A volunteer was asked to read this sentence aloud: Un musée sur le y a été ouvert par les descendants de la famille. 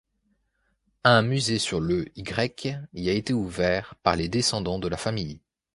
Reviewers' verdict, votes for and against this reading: rejected, 1, 2